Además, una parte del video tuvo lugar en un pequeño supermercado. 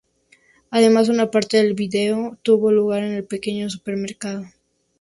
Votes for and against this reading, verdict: 0, 2, rejected